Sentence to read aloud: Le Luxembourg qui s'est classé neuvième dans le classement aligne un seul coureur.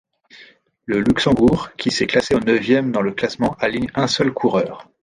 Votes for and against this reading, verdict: 2, 1, accepted